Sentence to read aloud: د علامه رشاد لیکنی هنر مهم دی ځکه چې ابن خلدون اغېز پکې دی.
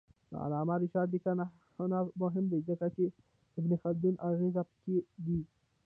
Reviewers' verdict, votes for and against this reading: rejected, 0, 2